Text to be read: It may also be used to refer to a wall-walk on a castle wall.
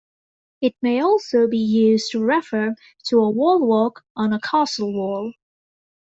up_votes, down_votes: 1, 2